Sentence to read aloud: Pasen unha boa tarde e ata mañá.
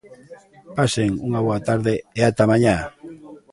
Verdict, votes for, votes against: rejected, 1, 2